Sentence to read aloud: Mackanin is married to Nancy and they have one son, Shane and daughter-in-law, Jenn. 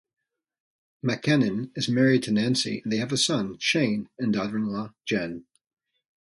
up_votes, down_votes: 0, 2